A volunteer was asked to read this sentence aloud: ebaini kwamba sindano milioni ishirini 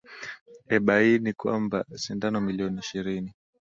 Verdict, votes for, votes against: accepted, 2, 0